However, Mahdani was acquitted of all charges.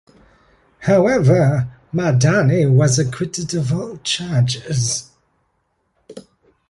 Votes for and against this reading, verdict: 2, 0, accepted